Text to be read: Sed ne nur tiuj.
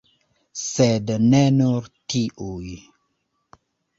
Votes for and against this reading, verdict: 0, 2, rejected